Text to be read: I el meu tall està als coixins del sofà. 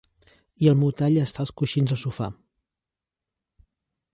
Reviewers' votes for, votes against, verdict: 0, 2, rejected